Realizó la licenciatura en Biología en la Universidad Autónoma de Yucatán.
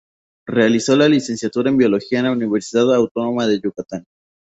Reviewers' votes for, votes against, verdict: 0, 2, rejected